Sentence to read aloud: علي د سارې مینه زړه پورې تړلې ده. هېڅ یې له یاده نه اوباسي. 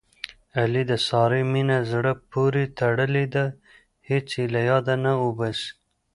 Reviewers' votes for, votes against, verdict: 2, 0, accepted